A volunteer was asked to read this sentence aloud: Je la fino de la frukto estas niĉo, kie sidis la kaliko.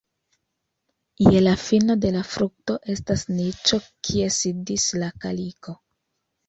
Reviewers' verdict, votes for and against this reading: accepted, 2, 0